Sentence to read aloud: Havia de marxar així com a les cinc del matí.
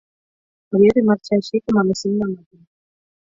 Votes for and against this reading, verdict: 2, 4, rejected